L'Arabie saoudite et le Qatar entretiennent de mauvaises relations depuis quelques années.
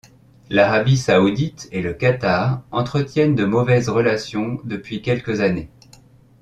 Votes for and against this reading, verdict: 2, 0, accepted